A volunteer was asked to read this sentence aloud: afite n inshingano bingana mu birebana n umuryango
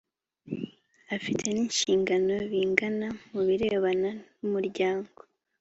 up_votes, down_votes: 2, 0